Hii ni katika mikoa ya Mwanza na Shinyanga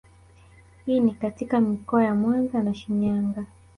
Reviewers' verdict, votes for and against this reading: rejected, 0, 2